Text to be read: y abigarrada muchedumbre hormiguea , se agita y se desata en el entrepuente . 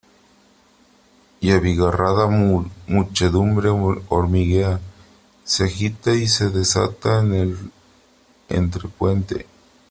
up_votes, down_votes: 1, 3